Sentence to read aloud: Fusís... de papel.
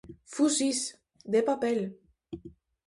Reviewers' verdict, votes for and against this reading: rejected, 0, 2